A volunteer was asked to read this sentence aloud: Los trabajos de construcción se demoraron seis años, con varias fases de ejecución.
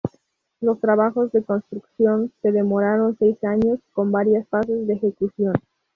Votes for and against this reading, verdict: 0, 2, rejected